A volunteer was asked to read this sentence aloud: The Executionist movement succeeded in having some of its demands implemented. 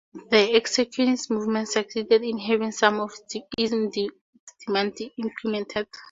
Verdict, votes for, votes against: rejected, 2, 4